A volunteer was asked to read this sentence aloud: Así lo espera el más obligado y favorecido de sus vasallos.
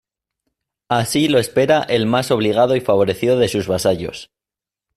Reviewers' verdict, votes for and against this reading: accepted, 2, 0